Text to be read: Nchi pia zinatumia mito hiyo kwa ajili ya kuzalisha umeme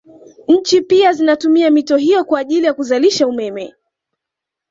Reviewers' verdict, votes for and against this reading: accepted, 2, 0